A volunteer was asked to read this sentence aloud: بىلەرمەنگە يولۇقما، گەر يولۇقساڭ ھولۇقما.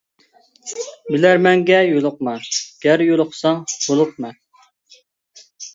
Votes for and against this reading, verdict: 2, 0, accepted